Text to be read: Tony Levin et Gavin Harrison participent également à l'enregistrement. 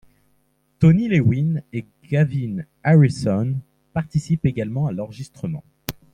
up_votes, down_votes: 1, 2